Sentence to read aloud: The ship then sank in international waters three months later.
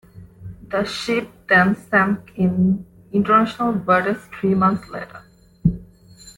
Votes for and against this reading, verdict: 1, 2, rejected